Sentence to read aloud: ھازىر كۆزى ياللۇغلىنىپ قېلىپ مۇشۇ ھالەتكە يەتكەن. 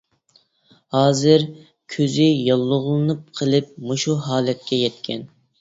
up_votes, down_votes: 2, 0